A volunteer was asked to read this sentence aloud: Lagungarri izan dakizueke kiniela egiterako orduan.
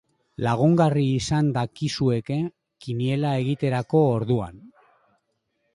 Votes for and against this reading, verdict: 2, 0, accepted